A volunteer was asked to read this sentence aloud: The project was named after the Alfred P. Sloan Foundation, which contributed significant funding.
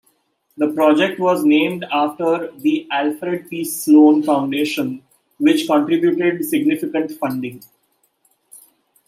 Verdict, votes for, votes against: rejected, 1, 2